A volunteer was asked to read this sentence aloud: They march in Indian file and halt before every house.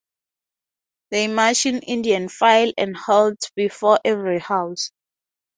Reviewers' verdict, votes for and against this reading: rejected, 2, 2